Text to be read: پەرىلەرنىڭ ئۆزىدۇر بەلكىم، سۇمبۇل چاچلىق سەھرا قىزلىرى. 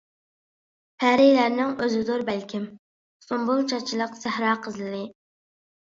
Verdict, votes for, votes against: accepted, 2, 0